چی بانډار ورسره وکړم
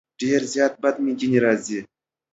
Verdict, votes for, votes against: rejected, 0, 2